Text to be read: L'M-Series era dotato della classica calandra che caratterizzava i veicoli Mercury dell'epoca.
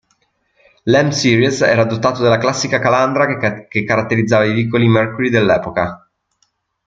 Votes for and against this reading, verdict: 1, 2, rejected